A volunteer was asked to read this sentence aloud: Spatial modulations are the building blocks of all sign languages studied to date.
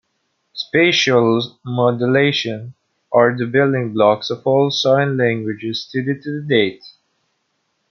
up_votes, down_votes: 2, 1